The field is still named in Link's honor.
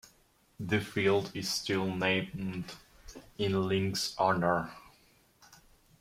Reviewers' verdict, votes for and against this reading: rejected, 0, 2